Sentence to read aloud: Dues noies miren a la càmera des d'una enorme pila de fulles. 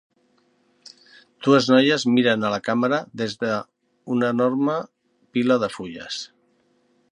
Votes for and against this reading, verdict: 0, 3, rejected